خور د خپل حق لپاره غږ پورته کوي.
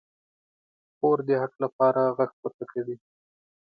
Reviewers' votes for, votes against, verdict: 1, 2, rejected